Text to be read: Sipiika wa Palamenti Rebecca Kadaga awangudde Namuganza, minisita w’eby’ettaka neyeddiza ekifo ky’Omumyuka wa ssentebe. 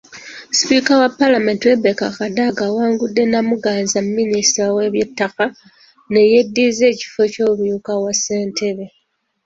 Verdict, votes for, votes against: accepted, 2, 1